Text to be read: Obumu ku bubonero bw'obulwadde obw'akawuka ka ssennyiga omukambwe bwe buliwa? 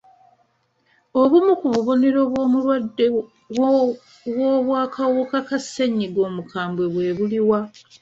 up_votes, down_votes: 0, 2